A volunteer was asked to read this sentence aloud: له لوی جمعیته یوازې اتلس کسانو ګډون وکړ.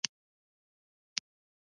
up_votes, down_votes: 0, 2